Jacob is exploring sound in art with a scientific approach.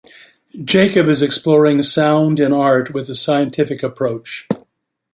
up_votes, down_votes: 2, 1